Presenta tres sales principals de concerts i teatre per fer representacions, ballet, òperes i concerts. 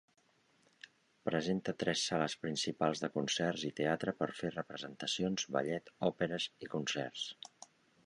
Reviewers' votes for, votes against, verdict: 3, 0, accepted